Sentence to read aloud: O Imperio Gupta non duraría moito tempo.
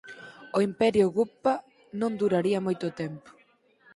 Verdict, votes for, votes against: rejected, 0, 4